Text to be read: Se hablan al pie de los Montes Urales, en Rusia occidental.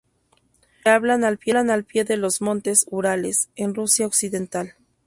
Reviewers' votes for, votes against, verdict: 0, 4, rejected